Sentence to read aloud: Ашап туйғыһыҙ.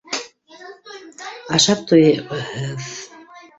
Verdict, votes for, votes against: rejected, 1, 2